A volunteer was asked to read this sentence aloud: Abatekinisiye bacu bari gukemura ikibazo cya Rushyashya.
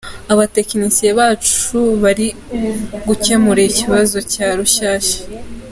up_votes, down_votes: 2, 0